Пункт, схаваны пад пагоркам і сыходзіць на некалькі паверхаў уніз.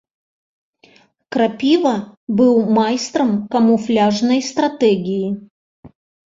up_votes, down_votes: 0, 2